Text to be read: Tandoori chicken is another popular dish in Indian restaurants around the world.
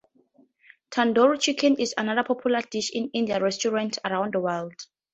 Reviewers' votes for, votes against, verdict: 4, 0, accepted